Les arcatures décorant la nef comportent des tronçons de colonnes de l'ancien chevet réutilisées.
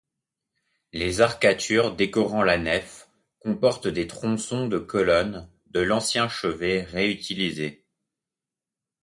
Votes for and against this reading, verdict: 2, 0, accepted